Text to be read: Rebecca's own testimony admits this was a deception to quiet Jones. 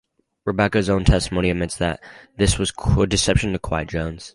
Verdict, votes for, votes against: accepted, 4, 0